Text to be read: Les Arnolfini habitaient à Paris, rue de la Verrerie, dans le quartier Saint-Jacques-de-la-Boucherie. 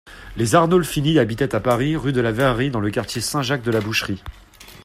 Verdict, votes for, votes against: accepted, 2, 0